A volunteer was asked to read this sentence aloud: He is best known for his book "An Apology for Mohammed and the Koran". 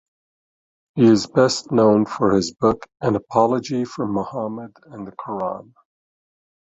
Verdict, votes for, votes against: accepted, 2, 0